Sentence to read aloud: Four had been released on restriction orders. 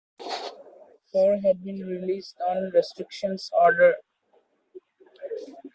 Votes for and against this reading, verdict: 0, 2, rejected